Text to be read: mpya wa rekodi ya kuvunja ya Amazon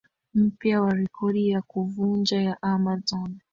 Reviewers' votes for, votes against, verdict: 0, 2, rejected